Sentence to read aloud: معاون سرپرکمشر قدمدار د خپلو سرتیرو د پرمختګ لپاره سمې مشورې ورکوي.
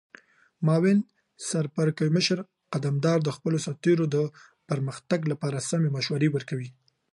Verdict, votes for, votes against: accepted, 3, 0